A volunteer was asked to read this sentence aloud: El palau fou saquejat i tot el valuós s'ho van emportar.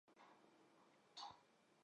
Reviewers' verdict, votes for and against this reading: rejected, 0, 4